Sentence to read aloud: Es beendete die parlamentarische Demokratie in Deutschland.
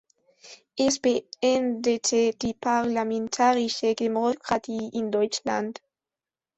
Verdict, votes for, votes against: rejected, 1, 2